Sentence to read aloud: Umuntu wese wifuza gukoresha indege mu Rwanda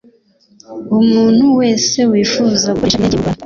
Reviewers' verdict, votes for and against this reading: rejected, 1, 3